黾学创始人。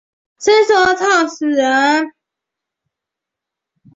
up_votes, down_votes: 1, 2